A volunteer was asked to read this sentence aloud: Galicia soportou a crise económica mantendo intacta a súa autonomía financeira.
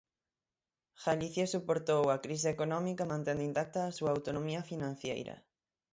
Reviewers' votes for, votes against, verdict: 0, 6, rejected